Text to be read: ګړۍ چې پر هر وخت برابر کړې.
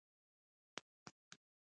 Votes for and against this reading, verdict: 1, 2, rejected